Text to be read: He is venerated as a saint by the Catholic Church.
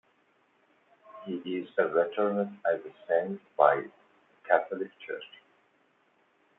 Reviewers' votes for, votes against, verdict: 0, 2, rejected